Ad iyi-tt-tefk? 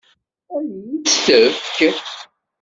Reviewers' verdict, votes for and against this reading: rejected, 1, 2